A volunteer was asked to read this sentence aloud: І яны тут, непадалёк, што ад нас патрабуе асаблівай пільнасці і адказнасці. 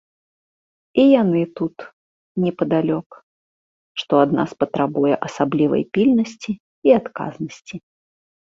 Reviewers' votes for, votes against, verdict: 2, 0, accepted